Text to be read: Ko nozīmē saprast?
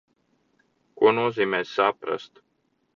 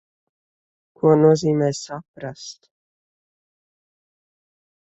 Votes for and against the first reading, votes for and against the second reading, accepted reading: 2, 1, 1, 2, first